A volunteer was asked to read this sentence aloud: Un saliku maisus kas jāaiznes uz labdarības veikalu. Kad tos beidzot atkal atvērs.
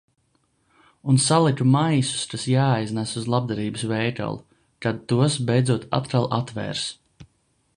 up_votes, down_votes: 0, 2